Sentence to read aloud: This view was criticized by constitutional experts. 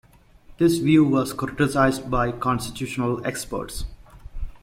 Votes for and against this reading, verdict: 2, 0, accepted